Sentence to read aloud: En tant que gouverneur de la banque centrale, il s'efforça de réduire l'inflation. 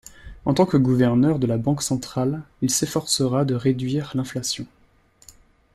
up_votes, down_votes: 0, 2